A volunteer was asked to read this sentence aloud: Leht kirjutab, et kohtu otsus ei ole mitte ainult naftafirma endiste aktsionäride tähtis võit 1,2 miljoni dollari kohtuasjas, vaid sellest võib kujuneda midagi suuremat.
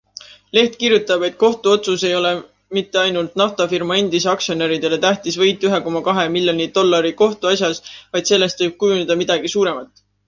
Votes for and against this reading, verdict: 0, 2, rejected